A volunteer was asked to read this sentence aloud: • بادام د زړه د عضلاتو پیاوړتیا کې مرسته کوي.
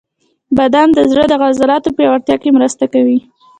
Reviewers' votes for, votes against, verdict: 0, 2, rejected